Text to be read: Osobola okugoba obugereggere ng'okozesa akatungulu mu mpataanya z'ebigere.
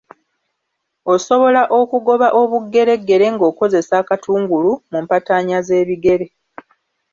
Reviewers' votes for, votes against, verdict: 2, 0, accepted